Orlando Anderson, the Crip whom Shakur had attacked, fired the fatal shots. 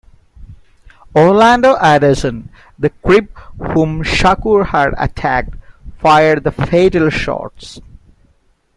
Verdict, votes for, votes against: rejected, 1, 2